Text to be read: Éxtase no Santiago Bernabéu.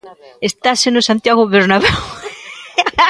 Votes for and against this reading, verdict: 0, 3, rejected